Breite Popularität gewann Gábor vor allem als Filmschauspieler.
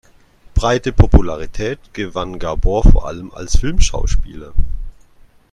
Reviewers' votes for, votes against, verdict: 1, 2, rejected